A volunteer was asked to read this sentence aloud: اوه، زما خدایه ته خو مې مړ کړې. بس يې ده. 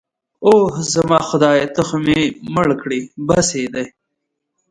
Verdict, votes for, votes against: rejected, 1, 2